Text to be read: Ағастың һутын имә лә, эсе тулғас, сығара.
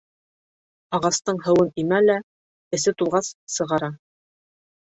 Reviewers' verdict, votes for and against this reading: rejected, 1, 2